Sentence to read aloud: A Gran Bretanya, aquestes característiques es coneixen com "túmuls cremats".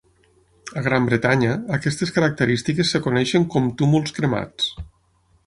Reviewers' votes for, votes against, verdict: 0, 6, rejected